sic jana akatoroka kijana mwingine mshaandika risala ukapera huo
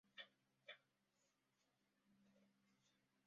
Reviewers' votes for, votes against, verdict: 0, 2, rejected